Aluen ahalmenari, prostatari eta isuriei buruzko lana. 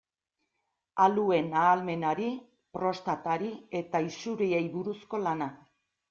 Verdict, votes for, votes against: accepted, 2, 1